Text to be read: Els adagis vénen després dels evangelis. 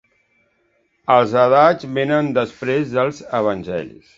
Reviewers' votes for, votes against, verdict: 1, 2, rejected